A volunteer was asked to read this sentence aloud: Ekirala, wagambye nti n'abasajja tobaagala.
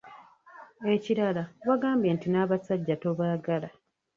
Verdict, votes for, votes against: rejected, 1, 2